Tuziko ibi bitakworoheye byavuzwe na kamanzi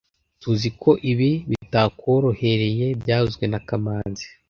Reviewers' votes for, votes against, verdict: 2, 0, accepted